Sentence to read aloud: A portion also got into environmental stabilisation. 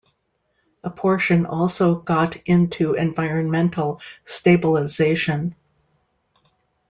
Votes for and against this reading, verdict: 2, 0, accepted